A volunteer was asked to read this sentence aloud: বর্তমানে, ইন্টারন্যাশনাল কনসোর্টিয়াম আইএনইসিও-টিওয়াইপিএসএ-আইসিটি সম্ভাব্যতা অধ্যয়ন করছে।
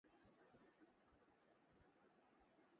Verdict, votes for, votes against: rejected, 0, 2